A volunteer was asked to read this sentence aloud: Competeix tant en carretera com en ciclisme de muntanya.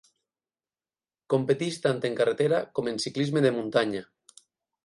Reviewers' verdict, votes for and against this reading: rejected, 0, 8